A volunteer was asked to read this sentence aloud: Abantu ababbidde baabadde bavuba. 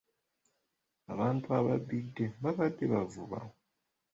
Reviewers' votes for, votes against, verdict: 2, 0, accepted